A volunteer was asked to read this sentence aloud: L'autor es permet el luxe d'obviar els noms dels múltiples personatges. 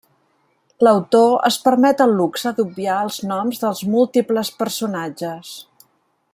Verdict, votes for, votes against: accepted, 3, 0